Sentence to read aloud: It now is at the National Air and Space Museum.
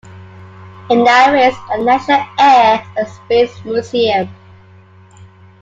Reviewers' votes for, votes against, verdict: 0, 2, rejected